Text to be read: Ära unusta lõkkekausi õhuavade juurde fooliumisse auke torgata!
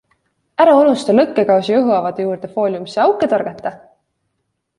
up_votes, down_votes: 2, 0